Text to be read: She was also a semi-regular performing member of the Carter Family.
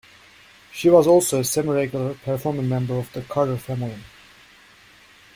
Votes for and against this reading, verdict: 0, 2, rejected